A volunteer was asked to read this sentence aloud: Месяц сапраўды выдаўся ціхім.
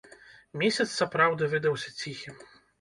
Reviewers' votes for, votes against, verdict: 1, 2, rejected